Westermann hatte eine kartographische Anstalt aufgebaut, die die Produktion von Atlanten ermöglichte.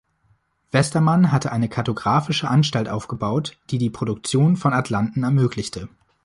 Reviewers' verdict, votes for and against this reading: accepted, 2, 0